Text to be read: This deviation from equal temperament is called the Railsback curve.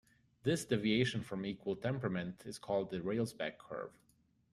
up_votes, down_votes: 2, 0